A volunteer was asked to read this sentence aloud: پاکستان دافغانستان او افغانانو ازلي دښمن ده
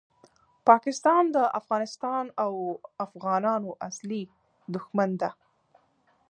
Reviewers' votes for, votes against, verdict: 3, 0, accepted